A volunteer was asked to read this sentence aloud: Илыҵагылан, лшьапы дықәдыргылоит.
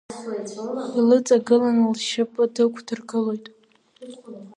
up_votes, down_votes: 2, 0